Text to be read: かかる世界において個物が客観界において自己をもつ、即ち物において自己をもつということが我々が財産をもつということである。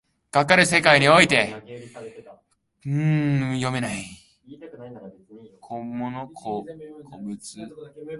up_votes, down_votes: 1, 2